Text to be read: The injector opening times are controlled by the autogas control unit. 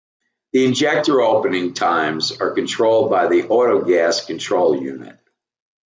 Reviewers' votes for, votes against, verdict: 2, 0, accepted